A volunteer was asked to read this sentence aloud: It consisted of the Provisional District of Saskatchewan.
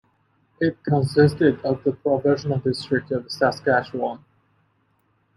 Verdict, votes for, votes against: accepted, 2, 1